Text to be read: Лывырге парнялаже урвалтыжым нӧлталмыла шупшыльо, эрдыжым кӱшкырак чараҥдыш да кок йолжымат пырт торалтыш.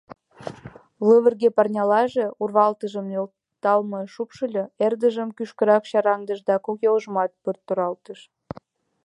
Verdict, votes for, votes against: accepted, 2, 0